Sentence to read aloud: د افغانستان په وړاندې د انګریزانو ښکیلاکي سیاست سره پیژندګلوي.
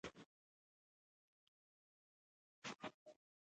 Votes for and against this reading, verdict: 0, 2, rejected